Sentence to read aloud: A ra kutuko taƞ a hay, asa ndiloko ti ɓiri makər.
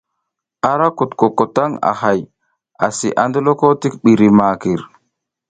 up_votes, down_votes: 1, 2